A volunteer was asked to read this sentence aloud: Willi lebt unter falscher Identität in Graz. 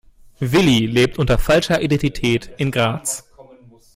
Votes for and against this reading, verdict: 2, 0, accepted